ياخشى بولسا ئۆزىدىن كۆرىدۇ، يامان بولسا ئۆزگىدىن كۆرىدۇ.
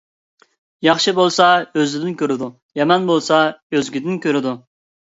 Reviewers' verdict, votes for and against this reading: accepted, 2, 0